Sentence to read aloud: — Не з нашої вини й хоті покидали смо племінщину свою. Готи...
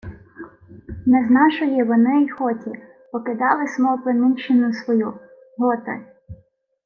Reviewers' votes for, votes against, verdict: 2, 1, accepted